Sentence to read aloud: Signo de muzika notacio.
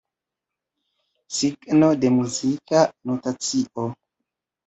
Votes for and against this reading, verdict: 2, 1, accepted